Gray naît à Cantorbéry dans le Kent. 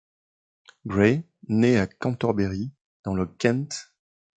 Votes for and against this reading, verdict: 2, 0, accepted